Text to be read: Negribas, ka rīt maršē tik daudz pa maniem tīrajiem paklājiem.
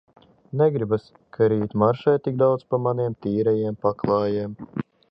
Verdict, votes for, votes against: accepted, 2, 0